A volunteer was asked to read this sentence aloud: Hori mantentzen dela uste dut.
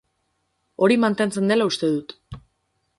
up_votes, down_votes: 12, 0